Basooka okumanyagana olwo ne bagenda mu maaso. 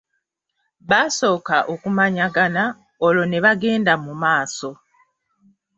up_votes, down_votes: 2, 0